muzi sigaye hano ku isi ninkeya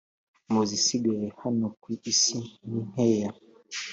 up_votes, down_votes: 2, 0